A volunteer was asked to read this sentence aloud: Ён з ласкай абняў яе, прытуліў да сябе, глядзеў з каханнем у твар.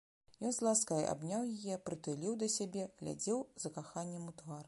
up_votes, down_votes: 0, 2